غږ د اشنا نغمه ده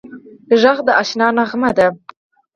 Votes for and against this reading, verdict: 0, 4, rejected